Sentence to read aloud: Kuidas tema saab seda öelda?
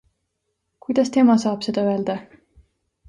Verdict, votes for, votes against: accepted, 2, 0